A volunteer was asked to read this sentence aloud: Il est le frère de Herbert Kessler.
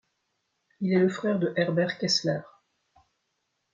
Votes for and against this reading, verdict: 2, 0, accepted